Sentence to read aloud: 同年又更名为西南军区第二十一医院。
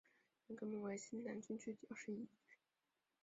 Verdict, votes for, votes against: rejected, 0, 5